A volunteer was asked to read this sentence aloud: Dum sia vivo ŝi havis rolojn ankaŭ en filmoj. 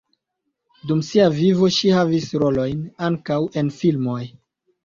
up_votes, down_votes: 2, 1